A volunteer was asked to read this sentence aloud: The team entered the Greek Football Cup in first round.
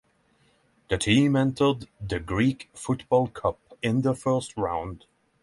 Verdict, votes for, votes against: rejected, 0, 6